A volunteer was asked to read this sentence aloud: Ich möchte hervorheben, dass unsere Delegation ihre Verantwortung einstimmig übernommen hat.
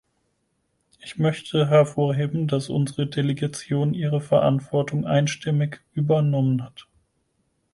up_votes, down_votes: 4, 0